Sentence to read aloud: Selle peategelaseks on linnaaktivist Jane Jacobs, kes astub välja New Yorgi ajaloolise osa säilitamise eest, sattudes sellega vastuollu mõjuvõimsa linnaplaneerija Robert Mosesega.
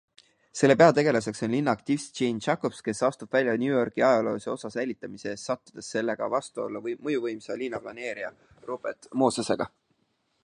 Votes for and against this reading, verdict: 2, 0, accepted